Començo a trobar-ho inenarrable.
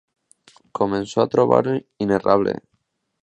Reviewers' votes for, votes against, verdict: 0, 2, rejected